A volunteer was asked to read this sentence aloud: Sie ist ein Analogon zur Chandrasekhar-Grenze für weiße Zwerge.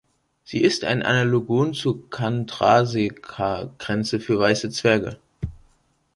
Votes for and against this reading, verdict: 1, 2, rejected